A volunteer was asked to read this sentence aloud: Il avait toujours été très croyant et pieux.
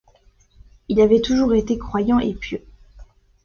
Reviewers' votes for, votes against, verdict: 1, 2, rejected